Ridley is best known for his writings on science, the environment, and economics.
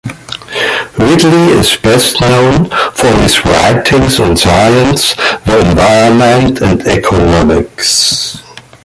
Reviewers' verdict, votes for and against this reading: accepted, 2, 0